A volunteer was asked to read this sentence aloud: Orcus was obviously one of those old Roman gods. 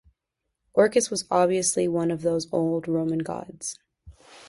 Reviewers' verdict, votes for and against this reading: accepted, 2, 0